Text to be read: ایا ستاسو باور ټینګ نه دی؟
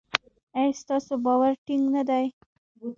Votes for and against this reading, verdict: 2, 0, accepted